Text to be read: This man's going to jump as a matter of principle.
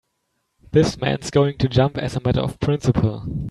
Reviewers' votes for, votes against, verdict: 2, 0, accepted